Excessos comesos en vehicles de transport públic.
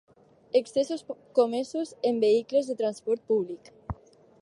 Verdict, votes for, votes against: rejected, 4, 6